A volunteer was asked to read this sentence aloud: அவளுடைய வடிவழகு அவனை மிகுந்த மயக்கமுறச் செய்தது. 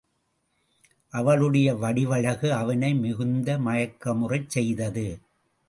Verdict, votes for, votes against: accepted, 3, 0